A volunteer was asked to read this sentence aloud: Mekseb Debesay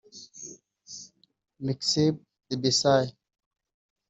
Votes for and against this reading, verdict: 0, 2, rejected